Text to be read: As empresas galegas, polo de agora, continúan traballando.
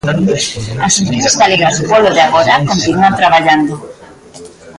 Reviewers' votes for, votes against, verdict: 0, 2, rejected